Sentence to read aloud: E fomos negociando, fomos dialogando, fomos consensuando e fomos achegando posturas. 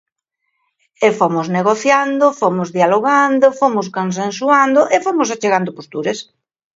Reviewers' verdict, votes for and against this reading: accepted, 2, 0